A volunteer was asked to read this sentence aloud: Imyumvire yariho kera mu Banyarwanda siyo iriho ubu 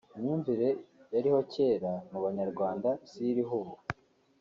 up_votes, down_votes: 4, 0